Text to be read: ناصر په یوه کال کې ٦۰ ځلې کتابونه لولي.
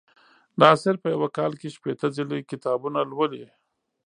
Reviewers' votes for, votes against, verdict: 0, 2, rejected